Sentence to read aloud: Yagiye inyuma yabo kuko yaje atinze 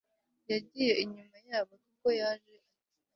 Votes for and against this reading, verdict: 2, 3, rejected